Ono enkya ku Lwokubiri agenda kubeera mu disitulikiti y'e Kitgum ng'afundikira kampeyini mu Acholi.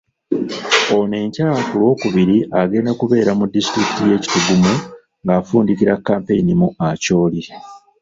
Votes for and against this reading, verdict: 3, 0, accepted